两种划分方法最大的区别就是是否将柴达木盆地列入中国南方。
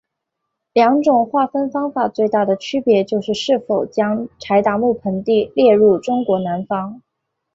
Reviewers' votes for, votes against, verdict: 1, 2, rejected